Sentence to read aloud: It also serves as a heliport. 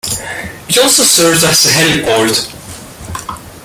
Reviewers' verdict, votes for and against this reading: accepted, 2, 0